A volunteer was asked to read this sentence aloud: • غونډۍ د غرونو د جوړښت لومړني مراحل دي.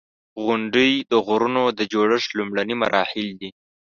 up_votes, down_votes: 2, 1